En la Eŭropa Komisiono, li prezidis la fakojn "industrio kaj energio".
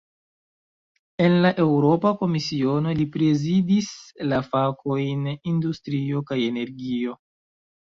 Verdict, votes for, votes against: accepted, 2, 0